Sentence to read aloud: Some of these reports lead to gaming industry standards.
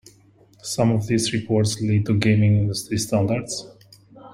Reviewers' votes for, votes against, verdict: 2, 1, accepted